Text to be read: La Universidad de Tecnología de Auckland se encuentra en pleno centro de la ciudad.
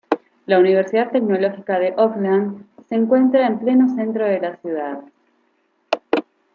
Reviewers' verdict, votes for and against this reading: rejected, 1, 2